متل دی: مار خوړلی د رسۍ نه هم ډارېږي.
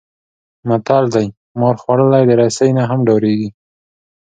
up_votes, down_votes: 3, 0